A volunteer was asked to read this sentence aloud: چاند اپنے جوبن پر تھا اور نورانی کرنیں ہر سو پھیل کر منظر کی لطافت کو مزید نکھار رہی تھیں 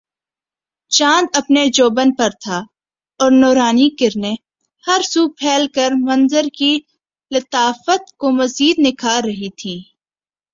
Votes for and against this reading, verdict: 2, 0, accepted